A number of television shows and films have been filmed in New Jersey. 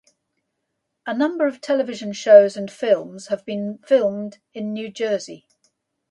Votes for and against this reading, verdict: 0, 2, rejected